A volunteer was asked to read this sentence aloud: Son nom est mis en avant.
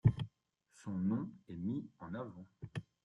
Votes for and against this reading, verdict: 2, 0, accepted